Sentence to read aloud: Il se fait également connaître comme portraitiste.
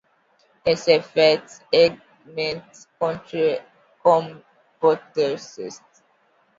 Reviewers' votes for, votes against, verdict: 1, 2, rejected